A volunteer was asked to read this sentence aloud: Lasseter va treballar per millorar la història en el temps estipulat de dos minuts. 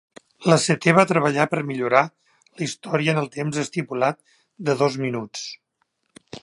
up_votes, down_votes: 2, 0